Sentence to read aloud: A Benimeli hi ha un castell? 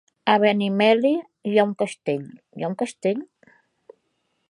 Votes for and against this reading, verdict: 0, 2, rejected